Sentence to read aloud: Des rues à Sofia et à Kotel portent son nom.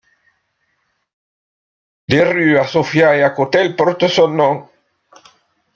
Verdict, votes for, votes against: rejected, 1, 2